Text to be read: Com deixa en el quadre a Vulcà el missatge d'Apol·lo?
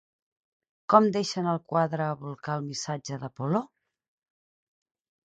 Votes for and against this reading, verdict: 4, 0, accepted